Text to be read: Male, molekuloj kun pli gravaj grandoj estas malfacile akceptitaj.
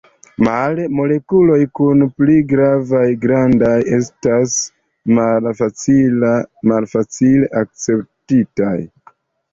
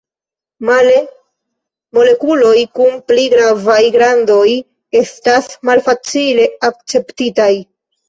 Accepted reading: second